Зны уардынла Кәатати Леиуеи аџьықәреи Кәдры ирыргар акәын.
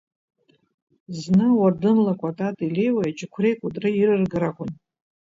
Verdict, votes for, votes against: accepted, 2, 0